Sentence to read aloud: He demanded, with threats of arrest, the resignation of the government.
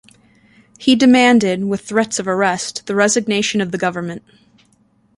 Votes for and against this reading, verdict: 2, 0, accepted